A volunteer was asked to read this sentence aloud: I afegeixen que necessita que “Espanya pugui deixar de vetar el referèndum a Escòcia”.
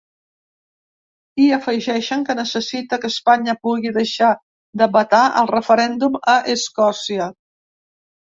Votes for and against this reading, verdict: 2, 0, accepted